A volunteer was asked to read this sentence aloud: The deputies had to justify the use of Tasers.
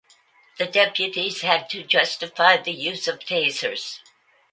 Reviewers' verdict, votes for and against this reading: accepted, 2, 0